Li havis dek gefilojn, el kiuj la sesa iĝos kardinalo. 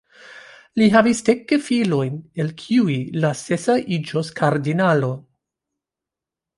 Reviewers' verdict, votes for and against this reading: accepted, 2, 0